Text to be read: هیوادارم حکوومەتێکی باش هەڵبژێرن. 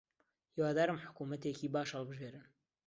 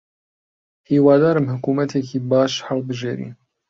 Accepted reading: first